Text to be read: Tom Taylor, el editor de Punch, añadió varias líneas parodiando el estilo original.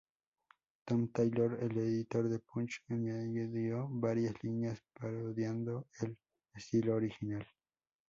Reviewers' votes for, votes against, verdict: 0, 2, rejected